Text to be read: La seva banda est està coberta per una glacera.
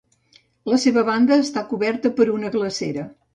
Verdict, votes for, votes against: accepted, 2, 1